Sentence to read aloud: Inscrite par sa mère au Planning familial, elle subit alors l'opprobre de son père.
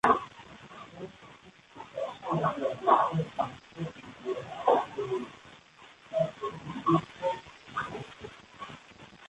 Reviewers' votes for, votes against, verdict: 0, 2, rejected